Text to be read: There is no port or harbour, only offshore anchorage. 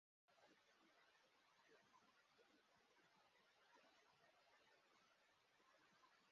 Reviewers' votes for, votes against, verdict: 0, 2, rejected